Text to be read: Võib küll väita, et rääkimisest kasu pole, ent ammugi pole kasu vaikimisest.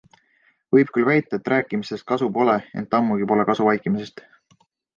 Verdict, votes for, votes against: accepted, 2, 0